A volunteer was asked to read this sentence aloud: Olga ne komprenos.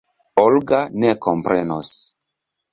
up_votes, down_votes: 2, 0